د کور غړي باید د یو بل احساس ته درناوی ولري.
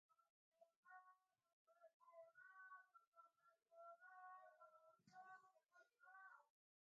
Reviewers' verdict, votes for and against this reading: rejected, 0, 2